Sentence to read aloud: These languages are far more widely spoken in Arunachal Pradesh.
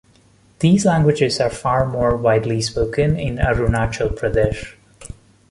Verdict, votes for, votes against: accepted, 2, 0